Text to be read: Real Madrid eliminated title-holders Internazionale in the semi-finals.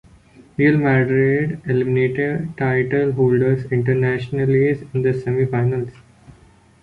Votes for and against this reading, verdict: 0, 2, rejected